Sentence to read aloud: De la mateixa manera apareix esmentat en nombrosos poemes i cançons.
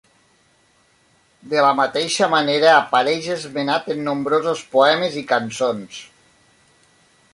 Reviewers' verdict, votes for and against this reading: rejected, 1, 2